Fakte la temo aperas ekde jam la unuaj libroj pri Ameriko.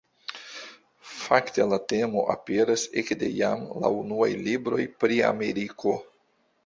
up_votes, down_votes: 2, 0